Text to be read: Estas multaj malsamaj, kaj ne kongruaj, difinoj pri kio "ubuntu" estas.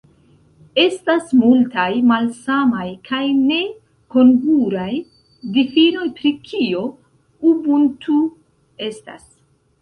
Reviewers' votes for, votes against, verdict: 0, 2, rejected